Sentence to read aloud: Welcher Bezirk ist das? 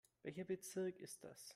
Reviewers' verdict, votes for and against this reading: accepted, 2, 0